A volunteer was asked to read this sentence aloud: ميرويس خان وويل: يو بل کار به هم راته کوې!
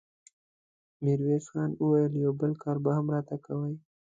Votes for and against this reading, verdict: 2, 0, accepted